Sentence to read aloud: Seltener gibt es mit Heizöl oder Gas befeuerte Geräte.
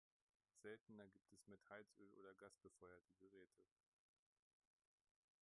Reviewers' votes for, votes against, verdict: 1, 2, rejected